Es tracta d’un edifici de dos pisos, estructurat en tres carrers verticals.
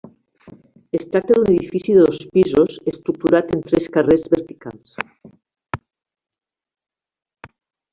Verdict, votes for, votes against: accepted, 3, 0